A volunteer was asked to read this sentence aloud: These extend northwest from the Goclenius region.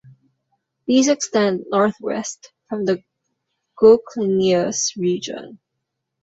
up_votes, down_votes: 1, 2